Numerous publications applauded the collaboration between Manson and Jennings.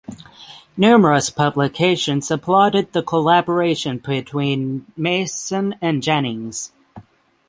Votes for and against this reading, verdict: 0, 6, rejected